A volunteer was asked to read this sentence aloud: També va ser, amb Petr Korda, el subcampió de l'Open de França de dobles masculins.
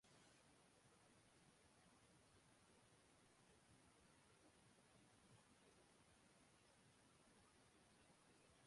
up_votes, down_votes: 0, 2